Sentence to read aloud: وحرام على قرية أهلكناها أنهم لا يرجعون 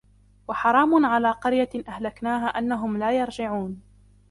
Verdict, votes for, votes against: accepted, 2, 0